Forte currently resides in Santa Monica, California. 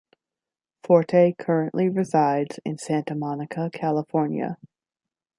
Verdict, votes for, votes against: rejected, 1, 2